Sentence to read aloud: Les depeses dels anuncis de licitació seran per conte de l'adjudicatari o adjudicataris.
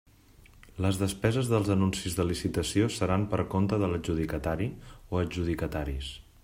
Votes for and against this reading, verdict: 2, 0, accepted